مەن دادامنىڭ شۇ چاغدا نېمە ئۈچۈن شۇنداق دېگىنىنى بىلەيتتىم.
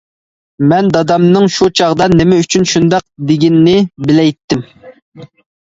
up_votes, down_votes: 2, 0